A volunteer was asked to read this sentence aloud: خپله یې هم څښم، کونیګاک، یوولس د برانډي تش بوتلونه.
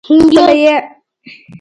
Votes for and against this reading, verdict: 0, 2, rejected